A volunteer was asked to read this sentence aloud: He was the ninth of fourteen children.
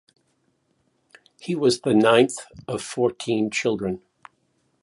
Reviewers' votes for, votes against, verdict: 2, 0, accepted